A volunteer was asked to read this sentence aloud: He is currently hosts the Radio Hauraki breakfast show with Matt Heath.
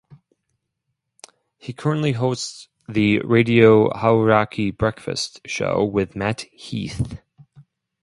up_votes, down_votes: 2, 2